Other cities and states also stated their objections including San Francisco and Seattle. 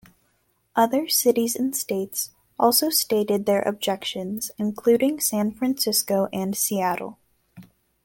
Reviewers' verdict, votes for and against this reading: accepted, 2, 0